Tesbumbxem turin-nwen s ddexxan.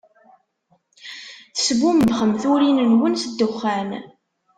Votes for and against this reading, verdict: 1, 2, rejected